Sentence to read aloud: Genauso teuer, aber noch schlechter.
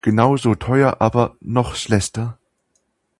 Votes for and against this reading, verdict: 2, 0, accepted